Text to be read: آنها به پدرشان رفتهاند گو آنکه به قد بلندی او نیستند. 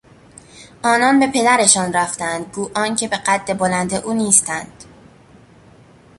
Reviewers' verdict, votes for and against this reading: rejected, 0, 2